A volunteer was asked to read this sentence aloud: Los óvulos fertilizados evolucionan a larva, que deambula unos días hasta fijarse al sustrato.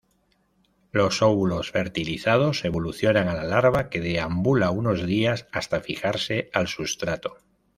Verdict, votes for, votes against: rejected, 1, 2